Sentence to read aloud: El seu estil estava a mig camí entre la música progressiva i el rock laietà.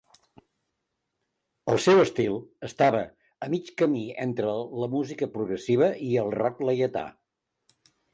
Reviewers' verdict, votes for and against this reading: accepted, 2, 0